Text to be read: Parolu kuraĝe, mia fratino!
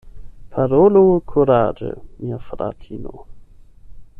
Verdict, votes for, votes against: rejected, 4, 8